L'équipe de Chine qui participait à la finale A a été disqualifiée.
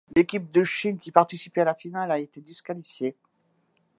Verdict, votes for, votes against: accepted, 2, 1